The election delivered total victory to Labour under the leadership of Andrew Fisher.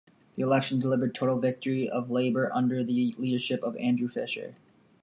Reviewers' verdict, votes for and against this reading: rejected, 1, 2